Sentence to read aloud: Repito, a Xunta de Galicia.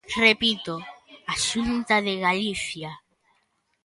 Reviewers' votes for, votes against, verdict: 2, 0, accepted